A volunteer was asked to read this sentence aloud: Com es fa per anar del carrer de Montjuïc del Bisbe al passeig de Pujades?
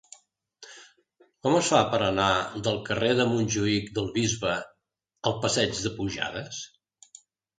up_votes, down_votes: 2, 0